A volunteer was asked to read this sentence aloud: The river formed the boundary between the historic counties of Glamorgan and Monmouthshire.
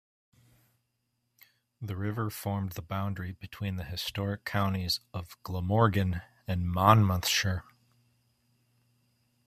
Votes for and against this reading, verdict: 2, 0, accepted